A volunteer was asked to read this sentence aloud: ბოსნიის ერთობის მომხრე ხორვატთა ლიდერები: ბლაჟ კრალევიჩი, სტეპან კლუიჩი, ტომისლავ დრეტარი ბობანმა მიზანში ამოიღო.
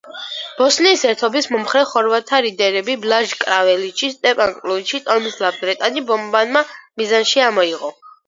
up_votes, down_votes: 1, 3